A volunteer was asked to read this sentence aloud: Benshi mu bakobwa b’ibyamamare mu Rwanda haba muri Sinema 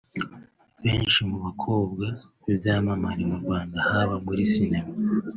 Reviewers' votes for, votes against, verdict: 2, 1, accepted